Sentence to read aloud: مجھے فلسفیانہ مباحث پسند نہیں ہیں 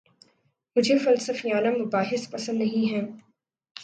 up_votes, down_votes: 2, 0